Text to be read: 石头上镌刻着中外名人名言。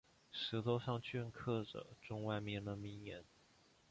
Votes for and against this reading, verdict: 4, 1, accepted